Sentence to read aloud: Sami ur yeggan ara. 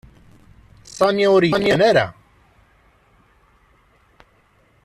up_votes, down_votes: 0, 2